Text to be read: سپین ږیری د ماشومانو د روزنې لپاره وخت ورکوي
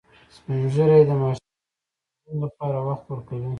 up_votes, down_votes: 2, 0